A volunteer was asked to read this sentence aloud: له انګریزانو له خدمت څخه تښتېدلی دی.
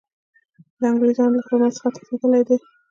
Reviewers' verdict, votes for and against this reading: rejected, 1, 2